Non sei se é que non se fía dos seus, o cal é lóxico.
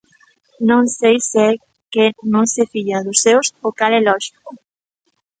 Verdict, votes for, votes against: accepted, 2, 0